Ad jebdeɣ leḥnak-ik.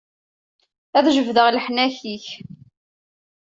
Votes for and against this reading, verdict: 2, 0, accepted